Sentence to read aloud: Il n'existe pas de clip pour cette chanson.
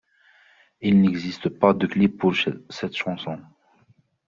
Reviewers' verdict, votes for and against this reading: rejected, 0, 2